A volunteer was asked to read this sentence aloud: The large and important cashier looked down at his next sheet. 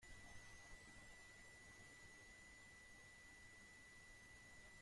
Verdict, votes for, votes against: rejected, 0, 2